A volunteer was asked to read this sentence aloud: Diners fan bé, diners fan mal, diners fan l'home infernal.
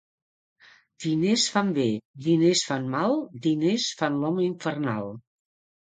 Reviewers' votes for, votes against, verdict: 2, 0, accepted